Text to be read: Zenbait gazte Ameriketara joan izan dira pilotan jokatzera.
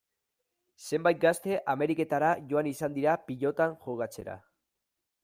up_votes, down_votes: 2, 0